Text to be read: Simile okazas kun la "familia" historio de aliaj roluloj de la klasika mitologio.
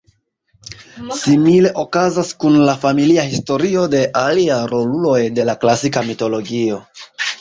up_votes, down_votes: 0, 2